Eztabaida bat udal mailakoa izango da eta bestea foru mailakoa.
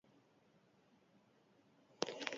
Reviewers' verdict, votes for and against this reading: rejected, 0, 4